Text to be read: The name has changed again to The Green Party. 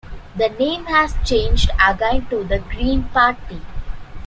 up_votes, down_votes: 2, 1